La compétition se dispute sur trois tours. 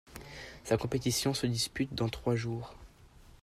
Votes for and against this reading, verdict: 0, 2, rejected